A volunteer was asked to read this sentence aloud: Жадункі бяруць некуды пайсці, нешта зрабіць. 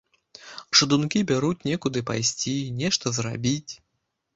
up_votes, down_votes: 1, 2